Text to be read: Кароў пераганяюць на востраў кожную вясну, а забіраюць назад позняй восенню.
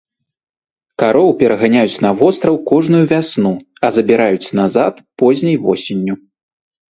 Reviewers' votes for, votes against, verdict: 2, 0, accepted